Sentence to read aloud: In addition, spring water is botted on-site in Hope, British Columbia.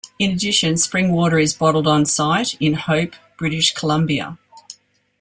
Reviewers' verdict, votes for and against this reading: rejected, 1, 2